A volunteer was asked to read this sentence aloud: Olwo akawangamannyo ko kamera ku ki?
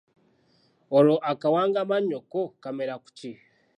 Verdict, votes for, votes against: accepted, 2, 1